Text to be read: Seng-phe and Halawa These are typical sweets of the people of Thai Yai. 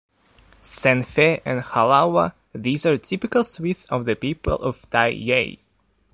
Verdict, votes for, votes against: rejected, 1, 2